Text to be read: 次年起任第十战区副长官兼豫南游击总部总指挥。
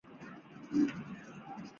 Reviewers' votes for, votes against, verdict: 0, 3, rejected